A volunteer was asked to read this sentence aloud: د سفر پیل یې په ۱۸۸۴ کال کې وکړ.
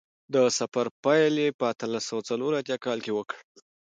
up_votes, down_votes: 0, 2